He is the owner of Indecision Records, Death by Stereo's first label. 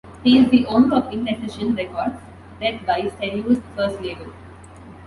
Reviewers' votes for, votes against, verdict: 2, 0, accepted